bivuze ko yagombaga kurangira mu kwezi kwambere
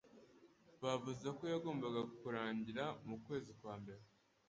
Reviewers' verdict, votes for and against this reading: rejected, 1, 2